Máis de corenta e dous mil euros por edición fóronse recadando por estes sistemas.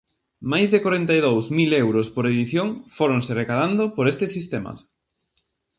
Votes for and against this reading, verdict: 0, 2, rejected